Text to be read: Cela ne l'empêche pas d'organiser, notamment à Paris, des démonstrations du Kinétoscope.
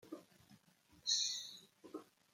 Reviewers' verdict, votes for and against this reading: rejected, 0, 2